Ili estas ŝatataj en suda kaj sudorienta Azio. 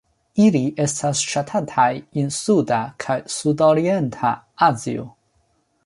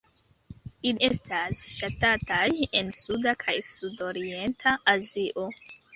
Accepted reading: first